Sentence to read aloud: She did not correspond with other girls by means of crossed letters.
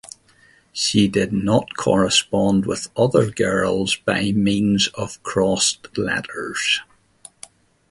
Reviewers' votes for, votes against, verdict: 2, 0, accepted